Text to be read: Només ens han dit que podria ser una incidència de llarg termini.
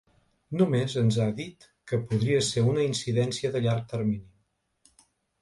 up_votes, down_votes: 0, 2